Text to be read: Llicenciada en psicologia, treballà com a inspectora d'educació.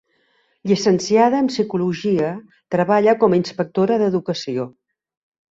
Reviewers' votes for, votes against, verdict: 0, 2, rejected